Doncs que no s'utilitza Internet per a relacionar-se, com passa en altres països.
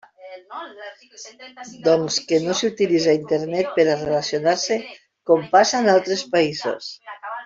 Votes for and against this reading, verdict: 0, 2, rejected